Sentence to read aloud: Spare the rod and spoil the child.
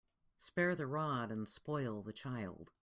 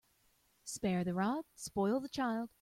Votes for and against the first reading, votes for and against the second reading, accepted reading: 2, 0, 1, 2, first